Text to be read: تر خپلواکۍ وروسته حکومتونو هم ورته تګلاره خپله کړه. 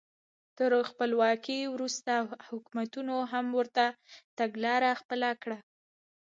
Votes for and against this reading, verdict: 2, 1, accepted